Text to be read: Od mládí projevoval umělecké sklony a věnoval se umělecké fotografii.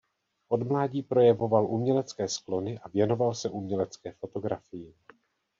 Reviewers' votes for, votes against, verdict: 2, 0, accepted